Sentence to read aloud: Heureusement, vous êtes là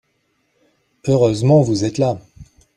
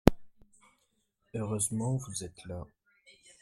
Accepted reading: first